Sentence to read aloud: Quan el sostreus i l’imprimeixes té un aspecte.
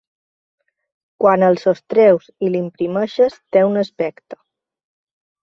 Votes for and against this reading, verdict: 4, 0, accepted